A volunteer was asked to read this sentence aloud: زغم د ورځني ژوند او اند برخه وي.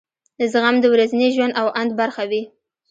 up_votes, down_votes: 2, 0